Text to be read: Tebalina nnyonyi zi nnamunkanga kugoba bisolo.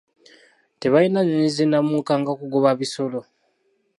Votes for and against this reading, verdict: 1, 2, rejected